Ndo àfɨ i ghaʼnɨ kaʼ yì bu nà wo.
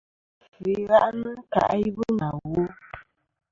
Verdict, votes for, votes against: accepted, 2, 0